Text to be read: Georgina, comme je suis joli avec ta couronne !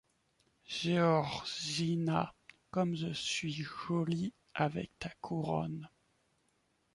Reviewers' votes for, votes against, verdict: 1, 2, rejected